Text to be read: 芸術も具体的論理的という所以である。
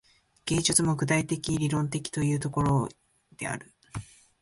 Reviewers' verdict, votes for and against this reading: rejected, 2, 3